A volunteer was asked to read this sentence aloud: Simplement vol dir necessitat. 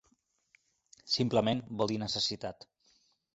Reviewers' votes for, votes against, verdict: 3, 0, accepted